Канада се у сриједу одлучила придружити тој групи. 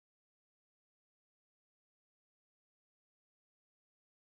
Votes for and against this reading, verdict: 0, 2, rejected